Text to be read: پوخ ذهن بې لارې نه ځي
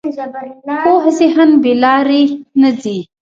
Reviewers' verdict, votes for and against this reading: rejected, 0, 2